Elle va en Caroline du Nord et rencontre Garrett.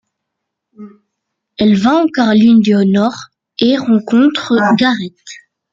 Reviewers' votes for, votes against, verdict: 1, 2, rejected